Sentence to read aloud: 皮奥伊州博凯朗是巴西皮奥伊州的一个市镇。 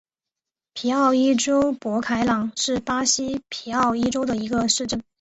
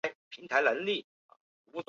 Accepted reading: first